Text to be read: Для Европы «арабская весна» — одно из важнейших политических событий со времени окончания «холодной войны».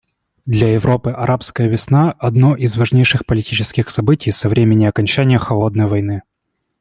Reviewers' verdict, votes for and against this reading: accepted, 2, 0